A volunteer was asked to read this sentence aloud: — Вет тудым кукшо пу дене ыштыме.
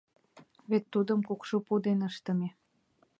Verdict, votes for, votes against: accepted, 2, 0